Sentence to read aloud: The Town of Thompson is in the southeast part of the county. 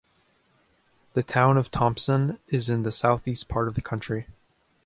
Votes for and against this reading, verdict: 0, 2, rejected